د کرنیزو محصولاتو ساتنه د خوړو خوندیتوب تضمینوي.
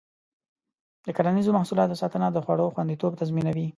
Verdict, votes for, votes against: accepted, 2, 0